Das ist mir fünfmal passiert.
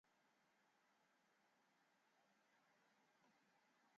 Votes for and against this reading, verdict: 0, 3, rejected